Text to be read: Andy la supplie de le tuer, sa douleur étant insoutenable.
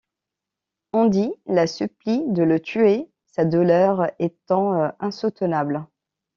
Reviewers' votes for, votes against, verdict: 2, 1, accepted